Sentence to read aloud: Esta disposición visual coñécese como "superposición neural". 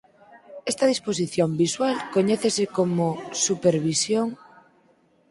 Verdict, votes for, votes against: rejected, 2, 6